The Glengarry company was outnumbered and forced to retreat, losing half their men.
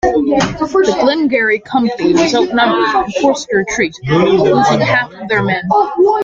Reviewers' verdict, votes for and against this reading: rejected, 0, 2